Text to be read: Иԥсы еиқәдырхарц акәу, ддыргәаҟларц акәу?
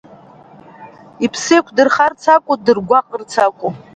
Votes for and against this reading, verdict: 2, 1, accepted